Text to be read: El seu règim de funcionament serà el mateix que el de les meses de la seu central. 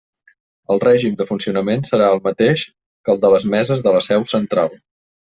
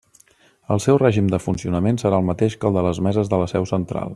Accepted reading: second